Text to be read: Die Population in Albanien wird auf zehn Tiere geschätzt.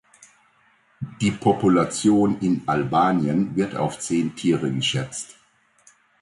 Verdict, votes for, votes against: accepted, 2, 0